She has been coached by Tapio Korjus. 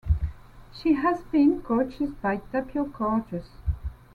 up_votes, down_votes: 2, 1